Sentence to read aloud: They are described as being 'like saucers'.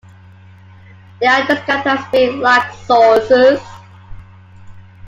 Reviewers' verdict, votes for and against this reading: accepted, 2, 1